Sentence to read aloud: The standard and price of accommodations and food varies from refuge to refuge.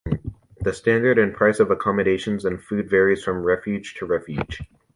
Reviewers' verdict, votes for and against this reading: rejected, 1, 2